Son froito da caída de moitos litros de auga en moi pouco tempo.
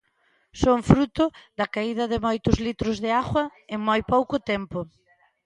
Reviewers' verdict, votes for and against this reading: rejected, 0, 2